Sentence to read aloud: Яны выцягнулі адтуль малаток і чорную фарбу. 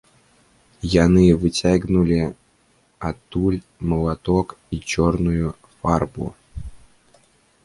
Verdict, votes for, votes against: rejected, 1, 2